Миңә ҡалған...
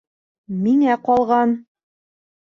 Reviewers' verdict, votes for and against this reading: rejected, 1, 2